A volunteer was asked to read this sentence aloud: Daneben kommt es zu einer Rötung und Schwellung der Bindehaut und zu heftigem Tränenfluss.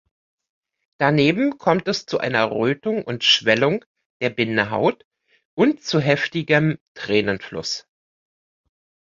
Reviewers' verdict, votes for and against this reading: accepted, 2, 0